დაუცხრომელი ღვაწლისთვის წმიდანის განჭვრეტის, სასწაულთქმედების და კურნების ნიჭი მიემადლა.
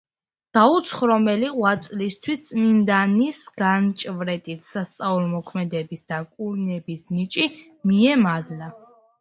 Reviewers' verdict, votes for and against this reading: rejected, 1, 2